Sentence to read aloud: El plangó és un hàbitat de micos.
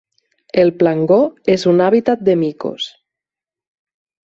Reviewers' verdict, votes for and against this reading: accepted, 8, 0